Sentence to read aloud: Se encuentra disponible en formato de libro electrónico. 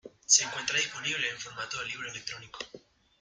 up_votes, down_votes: 0, 2